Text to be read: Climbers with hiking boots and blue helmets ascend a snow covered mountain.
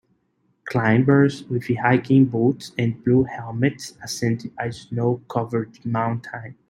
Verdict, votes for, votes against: rejected, 0, 3